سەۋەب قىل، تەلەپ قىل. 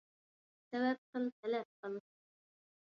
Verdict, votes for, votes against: rejected, 1, 2